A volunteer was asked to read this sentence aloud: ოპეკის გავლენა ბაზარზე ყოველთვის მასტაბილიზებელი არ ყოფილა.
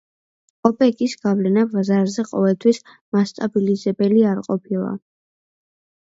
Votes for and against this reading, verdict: 2, 0, accepted